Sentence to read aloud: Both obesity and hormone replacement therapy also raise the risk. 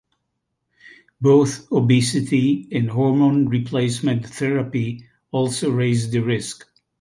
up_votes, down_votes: 2, 0